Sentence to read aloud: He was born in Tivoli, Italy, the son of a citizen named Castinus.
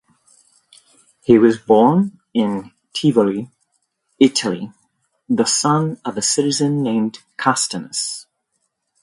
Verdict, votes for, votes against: accepted, 2, 0